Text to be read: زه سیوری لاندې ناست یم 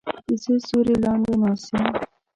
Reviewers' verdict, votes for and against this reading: rejected, 1, 2